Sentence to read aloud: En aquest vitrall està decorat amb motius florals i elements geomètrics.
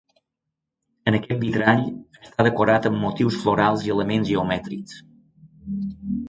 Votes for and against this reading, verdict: 0, 2, rejected